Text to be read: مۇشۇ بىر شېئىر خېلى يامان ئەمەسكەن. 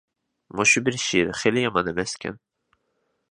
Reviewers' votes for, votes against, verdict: 2, 0, accepted